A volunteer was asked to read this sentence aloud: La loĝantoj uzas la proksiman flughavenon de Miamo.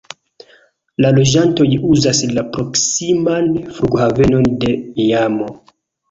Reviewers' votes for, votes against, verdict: 2, 1, accepted